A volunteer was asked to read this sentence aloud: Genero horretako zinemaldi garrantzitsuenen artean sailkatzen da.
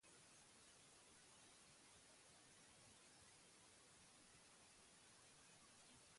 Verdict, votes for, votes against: rejected, 0, 4